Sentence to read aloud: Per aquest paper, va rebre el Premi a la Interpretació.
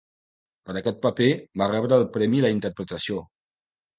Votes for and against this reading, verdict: 2, 0, accepted